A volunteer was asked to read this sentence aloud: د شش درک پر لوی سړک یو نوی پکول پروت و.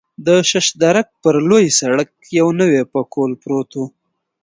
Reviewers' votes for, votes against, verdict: 2, 0, accepted